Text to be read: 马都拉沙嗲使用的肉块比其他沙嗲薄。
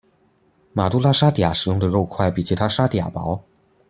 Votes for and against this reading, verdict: 2, 0, accepted